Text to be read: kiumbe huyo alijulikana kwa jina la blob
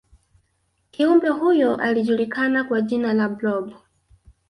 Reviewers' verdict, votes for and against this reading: accepted, 2, 1